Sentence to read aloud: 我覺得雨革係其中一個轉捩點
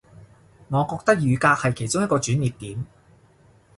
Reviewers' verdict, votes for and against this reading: accepted, 2, 0